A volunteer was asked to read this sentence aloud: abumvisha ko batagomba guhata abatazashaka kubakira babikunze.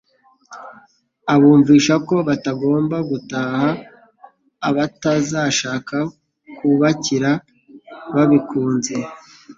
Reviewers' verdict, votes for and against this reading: rejected, 0, 2